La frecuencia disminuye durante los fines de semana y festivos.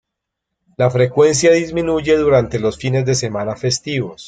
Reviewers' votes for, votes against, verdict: 1, 2, rejected